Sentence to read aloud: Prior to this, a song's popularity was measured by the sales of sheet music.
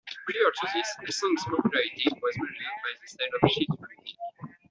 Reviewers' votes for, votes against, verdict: 0, 2, rejected